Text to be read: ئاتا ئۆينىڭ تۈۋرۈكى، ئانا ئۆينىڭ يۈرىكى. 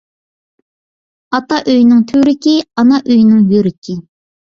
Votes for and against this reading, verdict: 2, 1, accepted